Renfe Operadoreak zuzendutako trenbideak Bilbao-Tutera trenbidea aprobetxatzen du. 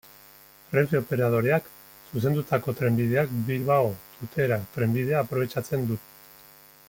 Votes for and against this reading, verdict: 1, 2, rejected